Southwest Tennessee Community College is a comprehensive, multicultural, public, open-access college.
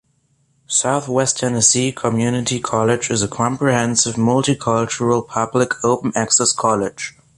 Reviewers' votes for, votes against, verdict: 2, 0, accepted